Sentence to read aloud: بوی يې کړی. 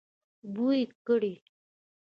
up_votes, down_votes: 0, 2